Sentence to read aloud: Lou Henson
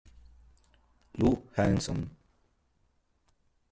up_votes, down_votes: 1, 3